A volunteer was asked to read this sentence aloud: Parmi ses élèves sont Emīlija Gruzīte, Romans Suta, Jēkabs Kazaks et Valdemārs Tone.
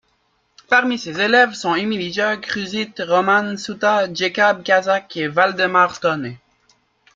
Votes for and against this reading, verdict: 2, 0, accepted